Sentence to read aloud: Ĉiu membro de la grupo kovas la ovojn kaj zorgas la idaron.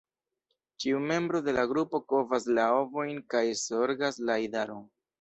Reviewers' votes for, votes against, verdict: 2, 0, accepted